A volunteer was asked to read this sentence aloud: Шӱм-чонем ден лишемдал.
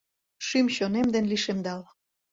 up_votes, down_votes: 2, 0